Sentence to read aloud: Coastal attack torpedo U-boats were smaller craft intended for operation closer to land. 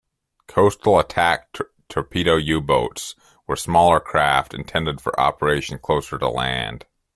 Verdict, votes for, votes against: rejected, 0, 2